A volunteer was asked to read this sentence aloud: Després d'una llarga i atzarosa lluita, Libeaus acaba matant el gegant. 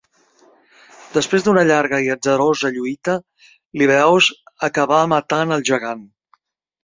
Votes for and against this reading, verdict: 0, 2, rejected